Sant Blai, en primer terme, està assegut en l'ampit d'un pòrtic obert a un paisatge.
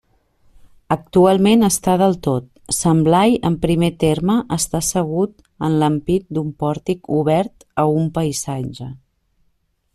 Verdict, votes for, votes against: rejected, 0, 2